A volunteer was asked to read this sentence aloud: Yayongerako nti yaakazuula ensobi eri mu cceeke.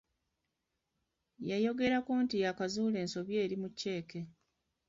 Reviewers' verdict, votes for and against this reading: rejected, 1, 2